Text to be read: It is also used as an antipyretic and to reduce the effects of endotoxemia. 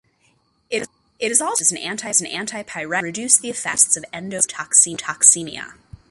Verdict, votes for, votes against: rejected, 0, 2